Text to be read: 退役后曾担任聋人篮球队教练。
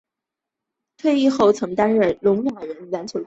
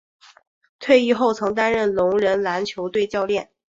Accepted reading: second